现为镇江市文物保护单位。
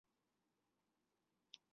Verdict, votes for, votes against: rejected, 1, 2